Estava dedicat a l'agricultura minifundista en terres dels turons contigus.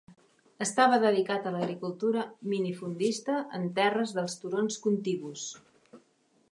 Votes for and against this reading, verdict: 2, 0, accepted